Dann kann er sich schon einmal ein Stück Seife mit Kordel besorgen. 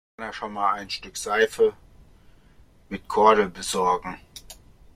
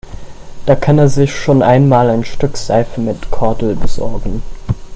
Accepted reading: second